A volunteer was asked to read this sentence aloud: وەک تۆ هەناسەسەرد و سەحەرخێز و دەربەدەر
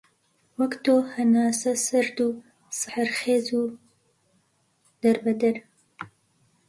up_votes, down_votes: 2, 0